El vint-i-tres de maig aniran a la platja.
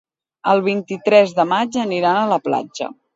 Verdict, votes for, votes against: accepted, 2, 0